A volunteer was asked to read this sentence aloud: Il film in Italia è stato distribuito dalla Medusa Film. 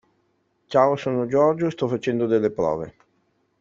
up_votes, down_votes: 0, 2